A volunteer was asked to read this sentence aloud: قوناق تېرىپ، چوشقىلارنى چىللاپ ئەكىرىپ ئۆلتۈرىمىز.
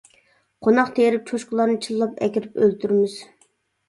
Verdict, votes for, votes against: accepted, 2, 0